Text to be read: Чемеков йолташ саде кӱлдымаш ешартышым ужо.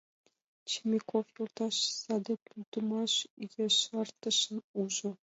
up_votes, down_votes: 2, 0